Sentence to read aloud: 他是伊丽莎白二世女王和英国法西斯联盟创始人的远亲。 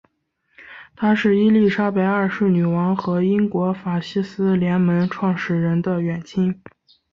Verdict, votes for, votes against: accepted, 2, 1